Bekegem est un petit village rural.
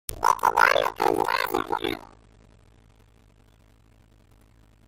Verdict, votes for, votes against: rejected, 0, 2